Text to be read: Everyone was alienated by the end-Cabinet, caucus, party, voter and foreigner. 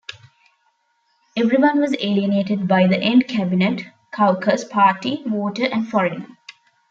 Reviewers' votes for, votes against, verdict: 2, 0, accepted